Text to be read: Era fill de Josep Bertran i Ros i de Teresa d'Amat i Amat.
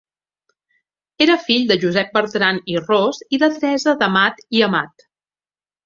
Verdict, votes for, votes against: accepted, 4, 1